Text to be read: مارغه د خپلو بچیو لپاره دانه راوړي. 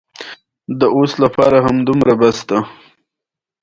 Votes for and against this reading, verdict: 2, 0, accepted